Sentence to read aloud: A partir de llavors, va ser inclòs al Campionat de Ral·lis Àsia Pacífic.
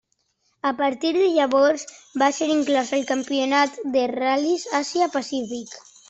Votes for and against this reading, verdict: 2, 1, accepted